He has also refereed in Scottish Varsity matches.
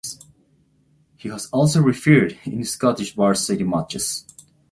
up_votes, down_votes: 2, 0